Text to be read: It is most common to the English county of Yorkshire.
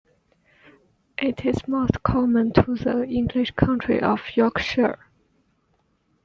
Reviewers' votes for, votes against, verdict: 1, 2, rejected